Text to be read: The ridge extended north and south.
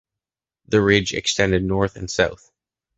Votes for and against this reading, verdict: 2, 0, accepted